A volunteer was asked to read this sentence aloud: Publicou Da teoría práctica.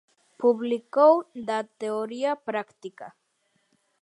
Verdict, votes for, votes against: accepted, 2, 0